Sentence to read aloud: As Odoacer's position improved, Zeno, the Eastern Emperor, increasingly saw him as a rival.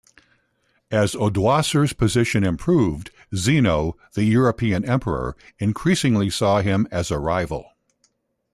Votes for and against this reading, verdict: 0, 2, rejected